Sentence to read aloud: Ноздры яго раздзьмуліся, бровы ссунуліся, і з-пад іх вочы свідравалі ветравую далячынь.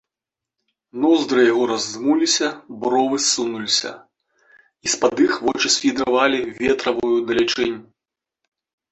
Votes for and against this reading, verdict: 0, 3, rejected